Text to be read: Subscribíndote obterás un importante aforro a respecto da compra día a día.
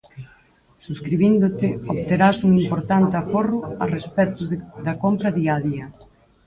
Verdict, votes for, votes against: rejected, 0, 4